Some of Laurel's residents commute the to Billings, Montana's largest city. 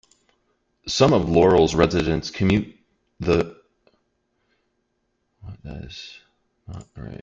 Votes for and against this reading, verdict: 0, 2, rejected